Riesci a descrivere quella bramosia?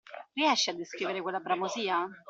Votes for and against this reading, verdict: 2, 0, accepted